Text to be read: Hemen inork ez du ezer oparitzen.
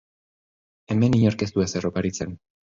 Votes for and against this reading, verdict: 2, 0, accepted